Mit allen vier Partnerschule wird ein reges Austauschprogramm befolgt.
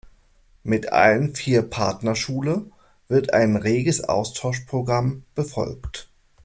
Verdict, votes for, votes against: accepted, 2, 0